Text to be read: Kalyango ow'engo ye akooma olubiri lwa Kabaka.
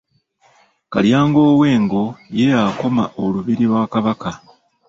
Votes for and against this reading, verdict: 1, 2, rejected